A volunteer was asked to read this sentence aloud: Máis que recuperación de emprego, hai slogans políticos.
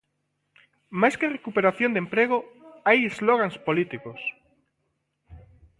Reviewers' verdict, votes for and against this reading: rejected, 0, 2